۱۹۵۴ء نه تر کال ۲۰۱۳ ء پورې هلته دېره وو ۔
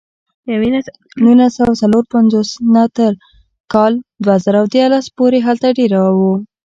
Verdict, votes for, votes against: rejected, 0, 2